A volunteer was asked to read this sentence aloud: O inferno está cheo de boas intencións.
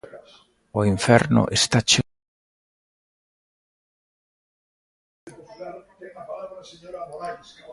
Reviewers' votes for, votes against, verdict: 0, 2, rejected